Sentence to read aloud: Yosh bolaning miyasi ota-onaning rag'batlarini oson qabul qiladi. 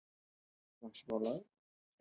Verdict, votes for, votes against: rejected, 0, 2